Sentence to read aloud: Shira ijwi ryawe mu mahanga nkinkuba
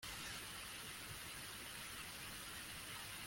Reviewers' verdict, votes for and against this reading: rejected, 0, 2